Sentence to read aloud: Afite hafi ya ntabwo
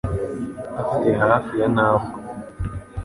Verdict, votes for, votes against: accepted, 2, 0